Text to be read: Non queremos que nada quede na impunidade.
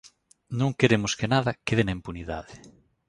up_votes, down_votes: 2, 0